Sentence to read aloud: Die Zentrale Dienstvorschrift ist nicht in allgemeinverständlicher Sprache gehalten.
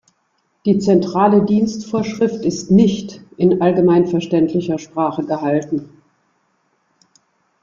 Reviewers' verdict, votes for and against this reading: accepted, 2, 0